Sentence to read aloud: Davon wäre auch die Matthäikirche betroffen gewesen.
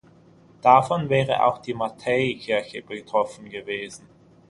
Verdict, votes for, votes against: accepted, 6, 0